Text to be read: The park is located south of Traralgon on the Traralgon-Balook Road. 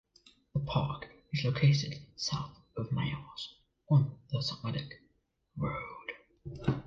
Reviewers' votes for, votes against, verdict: 0, 2, rejected